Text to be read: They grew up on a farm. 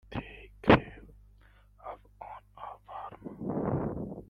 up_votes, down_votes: 0, 2